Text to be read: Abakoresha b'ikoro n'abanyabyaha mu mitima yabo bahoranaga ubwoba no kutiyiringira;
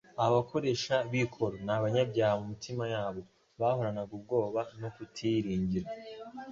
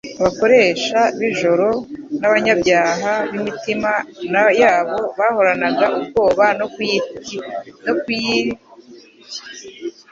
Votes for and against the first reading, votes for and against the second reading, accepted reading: 2, 0, 1, 2, first